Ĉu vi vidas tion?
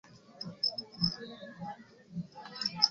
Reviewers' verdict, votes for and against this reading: rejected, 0, 2